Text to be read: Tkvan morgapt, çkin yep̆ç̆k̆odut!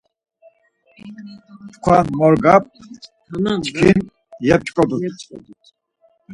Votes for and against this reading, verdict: 2, 4, rejected